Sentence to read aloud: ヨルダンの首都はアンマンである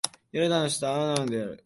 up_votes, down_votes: 0, 2